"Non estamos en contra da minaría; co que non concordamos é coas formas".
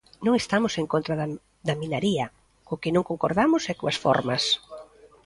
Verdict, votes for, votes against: rejected, 0, 2